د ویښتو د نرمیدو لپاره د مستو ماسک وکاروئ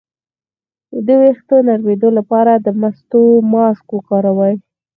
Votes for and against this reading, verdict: 4, 2, accepted